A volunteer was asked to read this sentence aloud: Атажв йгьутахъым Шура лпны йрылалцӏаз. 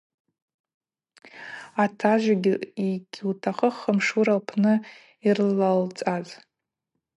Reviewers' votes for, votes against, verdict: 2, 0, accepted